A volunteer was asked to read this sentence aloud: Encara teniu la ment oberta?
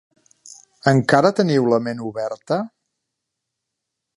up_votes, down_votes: 2, 0